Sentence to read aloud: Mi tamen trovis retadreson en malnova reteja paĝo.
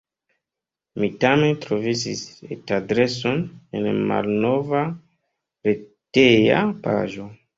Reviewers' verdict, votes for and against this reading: rejected, 0, 2